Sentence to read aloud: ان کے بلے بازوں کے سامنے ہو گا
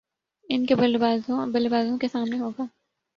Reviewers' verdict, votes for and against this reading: accepted, 5, 0